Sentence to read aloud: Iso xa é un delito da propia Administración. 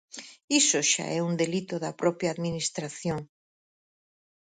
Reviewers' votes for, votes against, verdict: 4, 0, accepted